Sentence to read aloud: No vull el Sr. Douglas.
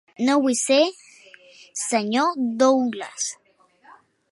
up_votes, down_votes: 0, 2